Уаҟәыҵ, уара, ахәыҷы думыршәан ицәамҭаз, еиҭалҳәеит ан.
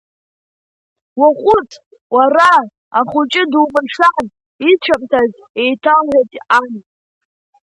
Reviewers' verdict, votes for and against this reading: accepted, 2, 0